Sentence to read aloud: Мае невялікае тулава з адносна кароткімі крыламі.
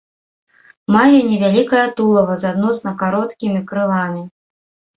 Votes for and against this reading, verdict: 1, 3, rejected